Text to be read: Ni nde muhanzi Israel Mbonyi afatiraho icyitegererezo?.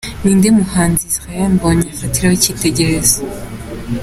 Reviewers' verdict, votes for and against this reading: accepted, 2, 0